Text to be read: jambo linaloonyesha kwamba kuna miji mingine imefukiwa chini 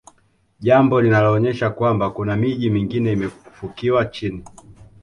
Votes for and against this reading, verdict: 2, 0, accepted